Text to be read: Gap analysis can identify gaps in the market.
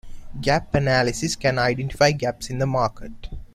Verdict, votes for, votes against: accepted, 2, 0